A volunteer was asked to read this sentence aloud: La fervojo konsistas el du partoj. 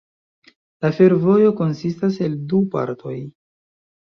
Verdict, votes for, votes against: rejected, 0, 2